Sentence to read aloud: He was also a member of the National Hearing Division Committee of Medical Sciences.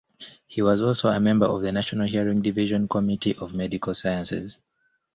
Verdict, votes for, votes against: accepted, 2, 0